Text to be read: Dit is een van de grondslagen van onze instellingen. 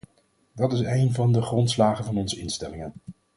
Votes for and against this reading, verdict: 2, 4, rejected